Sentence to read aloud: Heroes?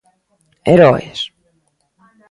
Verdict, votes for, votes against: accepted, 2, 0